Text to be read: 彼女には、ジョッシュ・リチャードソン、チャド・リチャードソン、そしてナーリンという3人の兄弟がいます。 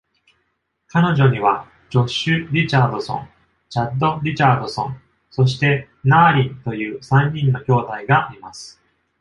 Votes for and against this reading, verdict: 0, 2, rejected